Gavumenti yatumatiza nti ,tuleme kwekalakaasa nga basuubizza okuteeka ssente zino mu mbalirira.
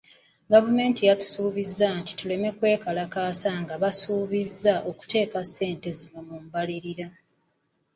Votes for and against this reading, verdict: 0, 2, rejected